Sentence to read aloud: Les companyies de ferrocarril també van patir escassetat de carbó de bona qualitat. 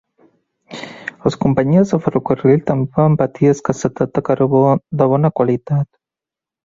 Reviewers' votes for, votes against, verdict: 2, 0, accepted